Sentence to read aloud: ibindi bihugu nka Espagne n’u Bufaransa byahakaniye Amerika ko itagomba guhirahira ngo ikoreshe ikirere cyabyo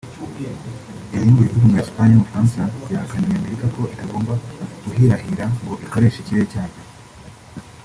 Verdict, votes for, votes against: rejected, 0, 2